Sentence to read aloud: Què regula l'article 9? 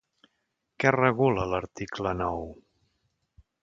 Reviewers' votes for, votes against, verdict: 0, 2, rejected